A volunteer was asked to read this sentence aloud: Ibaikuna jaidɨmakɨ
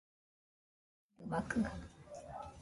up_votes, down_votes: 0, 2